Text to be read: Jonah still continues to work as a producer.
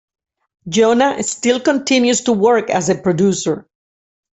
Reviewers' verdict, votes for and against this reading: accepted, 2, 0